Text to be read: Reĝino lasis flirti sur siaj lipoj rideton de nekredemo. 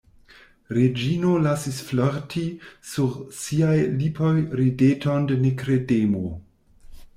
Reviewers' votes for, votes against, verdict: 1, 2, rejected